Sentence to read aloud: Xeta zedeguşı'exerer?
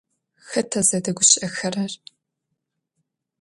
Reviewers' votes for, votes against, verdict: 2, 0, accepted